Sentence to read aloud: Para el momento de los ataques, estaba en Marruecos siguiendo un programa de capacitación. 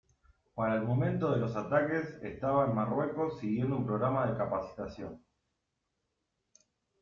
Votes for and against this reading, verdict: 2, 0, accepted